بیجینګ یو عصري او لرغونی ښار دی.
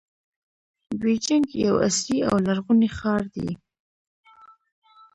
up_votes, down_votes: 0, 2